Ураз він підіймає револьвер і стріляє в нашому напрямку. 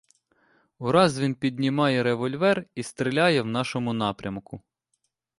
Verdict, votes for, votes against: rejected, 0, 2